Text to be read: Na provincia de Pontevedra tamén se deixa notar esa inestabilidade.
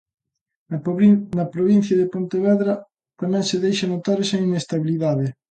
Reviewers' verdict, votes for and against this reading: rejected, 0, 2